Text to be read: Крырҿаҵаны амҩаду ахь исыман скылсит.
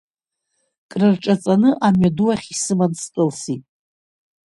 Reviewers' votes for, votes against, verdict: 2, 0, accepted